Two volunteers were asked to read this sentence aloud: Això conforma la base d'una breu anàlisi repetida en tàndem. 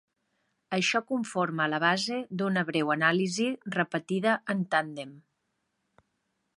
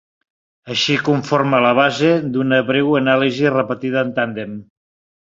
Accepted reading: first